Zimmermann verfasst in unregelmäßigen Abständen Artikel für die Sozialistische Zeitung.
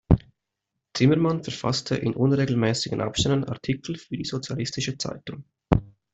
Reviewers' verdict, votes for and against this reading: rejected, 0, 2